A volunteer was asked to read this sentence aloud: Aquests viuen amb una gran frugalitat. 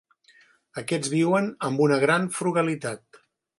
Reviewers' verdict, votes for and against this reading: accepted, 4, 0